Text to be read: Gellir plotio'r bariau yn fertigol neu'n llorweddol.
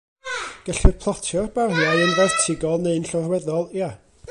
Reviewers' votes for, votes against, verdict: 0, 2, rejected